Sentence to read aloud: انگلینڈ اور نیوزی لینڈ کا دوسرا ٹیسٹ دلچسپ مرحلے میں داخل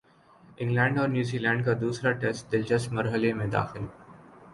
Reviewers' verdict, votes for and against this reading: accepted, 2, 0